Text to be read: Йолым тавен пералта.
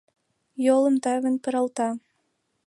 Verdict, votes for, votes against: accepted, 2, 0